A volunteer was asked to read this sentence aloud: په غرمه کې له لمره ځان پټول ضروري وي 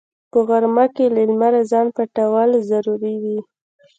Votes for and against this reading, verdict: 2, 0, accepted